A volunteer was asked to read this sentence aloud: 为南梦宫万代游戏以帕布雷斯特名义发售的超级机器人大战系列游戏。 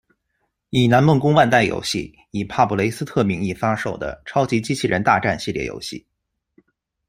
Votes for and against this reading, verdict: 0, 2, rejected